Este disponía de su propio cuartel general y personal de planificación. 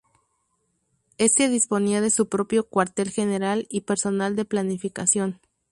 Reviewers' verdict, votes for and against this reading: rejected, 0, 2